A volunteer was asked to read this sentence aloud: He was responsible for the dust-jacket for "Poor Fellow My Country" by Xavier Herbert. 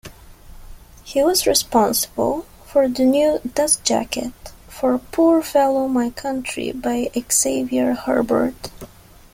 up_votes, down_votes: 1, 2